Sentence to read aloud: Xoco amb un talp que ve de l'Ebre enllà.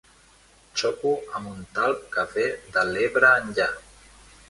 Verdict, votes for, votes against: rejected, 1, 2